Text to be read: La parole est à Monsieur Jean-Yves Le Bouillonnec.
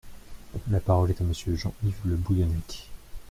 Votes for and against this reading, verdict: 0, 2, rejected